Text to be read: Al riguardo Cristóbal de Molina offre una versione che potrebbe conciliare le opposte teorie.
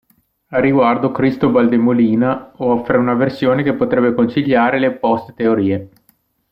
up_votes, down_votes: 2, 0